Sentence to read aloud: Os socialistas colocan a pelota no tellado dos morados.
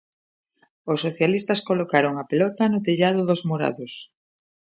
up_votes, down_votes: 0, 2